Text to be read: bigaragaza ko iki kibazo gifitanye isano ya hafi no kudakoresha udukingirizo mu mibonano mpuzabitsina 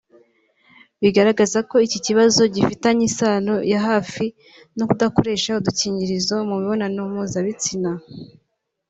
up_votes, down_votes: 2, 1